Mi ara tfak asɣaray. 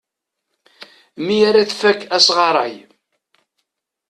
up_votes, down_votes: 2, 0